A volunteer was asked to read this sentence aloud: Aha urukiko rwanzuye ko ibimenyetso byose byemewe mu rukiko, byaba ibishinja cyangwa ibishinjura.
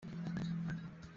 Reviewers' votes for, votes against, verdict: 0, 2, rejected